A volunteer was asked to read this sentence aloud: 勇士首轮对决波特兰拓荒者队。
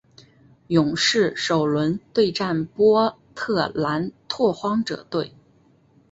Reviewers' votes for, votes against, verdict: 0, 2, rejected